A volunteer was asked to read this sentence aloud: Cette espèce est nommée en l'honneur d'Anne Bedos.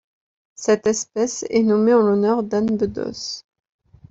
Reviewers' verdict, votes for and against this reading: accepted, 2, 0